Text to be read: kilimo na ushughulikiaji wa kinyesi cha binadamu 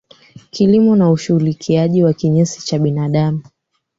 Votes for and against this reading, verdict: 2, 1, accepted